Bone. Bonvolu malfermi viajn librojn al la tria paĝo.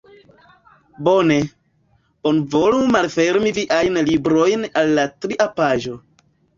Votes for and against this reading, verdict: 1, 2, rejected